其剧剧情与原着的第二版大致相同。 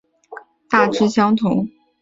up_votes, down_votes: 1, 4